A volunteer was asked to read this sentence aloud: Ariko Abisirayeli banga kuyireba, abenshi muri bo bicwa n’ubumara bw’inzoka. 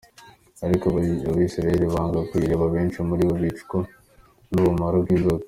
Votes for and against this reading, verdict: 2, 0, accepted